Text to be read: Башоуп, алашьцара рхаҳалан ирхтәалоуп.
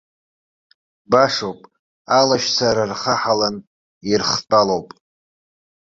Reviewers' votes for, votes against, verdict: 2, 0, accepted